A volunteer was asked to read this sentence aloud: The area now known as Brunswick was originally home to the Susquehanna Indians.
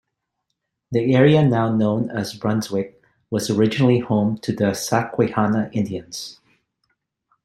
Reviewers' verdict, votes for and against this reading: accepted, 2, 0